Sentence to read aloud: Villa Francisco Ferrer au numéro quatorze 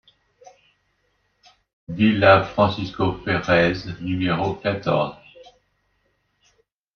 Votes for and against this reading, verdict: 0, 2, rejected